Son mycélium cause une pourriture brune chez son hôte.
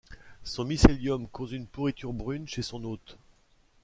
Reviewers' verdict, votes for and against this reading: accepted, 2, 0